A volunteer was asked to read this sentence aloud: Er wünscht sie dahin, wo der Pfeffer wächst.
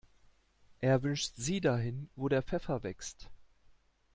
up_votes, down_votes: 2, 0